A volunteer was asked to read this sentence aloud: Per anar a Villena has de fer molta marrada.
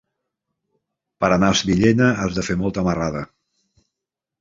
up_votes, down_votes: 0, 2